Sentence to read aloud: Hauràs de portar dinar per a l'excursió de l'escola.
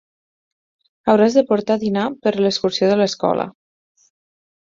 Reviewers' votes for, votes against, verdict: 10, 4, accepted